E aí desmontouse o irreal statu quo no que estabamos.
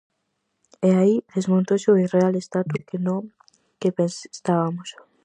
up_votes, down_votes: 0, 4